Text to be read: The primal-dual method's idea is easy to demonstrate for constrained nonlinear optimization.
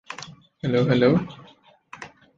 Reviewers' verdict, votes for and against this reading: rejected, 0, 2